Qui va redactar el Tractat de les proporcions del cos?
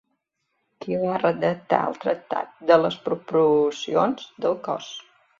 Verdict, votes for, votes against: rejected, 0, 2